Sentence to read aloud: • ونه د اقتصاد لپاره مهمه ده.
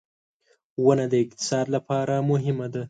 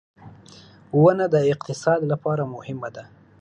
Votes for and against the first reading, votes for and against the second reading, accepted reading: 1, 2, 3, 0, second